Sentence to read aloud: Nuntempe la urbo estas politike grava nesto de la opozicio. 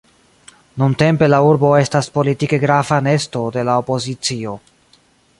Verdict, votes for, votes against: accepted, 2, 0